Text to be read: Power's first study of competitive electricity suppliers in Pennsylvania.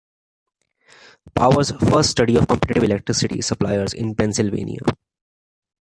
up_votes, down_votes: 2, 0